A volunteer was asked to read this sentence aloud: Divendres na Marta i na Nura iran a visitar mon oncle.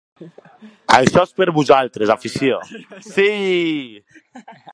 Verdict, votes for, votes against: rejected, 0, 2